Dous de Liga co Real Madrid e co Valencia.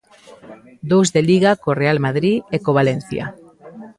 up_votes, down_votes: 2, 0